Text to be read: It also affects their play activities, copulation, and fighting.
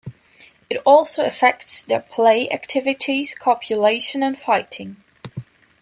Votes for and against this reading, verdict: 2, 0, accepted